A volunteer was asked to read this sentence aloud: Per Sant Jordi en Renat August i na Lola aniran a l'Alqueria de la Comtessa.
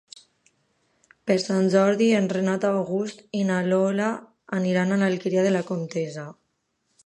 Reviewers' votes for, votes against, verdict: 1, 2, rejected